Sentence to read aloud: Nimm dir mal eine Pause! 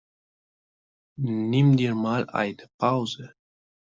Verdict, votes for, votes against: rejected, 1, 2